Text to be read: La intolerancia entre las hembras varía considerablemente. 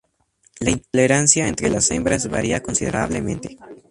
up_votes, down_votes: 2, 0